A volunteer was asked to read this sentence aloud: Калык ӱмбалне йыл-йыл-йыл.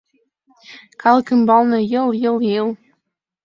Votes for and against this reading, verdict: 2, 0, accepted